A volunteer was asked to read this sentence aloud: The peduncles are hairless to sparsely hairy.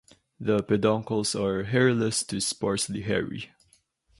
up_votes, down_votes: 2, 0